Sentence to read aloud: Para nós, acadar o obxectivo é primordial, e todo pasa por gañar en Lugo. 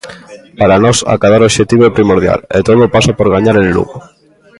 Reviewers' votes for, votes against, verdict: 0, 2, rejected